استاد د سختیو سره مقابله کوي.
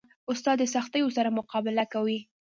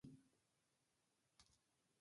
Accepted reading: first